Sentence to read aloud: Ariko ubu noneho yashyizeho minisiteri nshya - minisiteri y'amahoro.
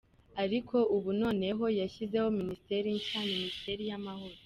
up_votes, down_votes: 1, 2